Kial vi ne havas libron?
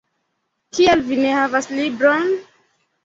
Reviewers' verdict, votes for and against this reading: accepted, 2, 0